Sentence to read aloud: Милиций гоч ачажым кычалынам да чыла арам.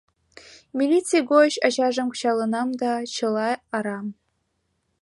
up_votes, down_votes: 2, 0